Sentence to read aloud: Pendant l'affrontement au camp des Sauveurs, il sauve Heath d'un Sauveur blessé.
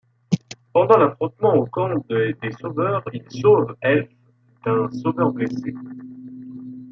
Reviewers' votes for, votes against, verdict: 1, 2, rejected